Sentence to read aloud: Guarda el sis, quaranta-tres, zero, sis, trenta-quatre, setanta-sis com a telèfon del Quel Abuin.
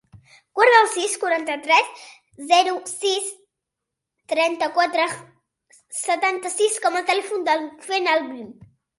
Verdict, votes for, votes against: rejected, 1, 2